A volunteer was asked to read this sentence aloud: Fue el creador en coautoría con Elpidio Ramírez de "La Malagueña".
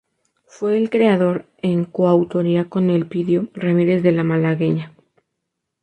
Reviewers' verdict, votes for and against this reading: accepted, 2, 0